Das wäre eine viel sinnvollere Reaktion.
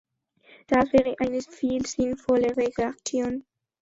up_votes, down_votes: 1, 2